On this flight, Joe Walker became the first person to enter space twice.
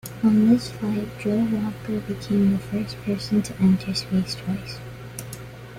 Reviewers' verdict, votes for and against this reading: accepted, 2, 0